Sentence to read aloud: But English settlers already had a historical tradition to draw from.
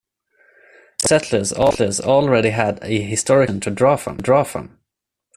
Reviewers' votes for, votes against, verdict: 0, 2, rejected